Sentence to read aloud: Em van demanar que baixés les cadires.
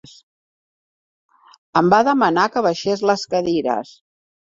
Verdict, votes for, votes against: rejected, 1, 2